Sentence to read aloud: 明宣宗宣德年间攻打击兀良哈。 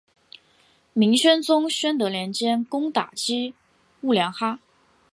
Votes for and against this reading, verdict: 2, 1, accepted